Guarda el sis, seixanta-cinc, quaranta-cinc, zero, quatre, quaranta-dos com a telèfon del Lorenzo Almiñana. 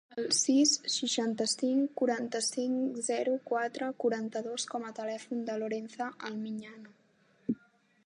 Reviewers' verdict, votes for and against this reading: rejected, 0, 2